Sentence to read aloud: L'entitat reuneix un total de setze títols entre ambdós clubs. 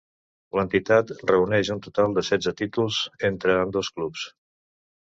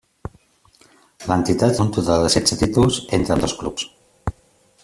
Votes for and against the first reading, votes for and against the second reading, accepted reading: 2, 0, 0, 2, first